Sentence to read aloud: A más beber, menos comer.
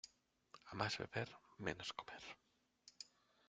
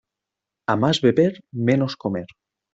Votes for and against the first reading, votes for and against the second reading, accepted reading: 0, 2, 2, 0, second